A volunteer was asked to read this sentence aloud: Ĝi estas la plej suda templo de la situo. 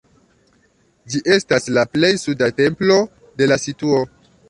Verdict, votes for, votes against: accepted, 2, 0